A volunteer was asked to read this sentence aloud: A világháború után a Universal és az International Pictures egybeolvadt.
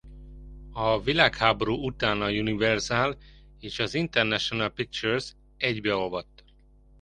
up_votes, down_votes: 2, 0